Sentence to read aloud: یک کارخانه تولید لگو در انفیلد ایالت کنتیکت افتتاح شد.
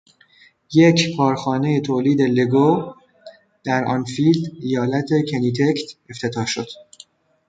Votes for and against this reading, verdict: 0, 2, rejected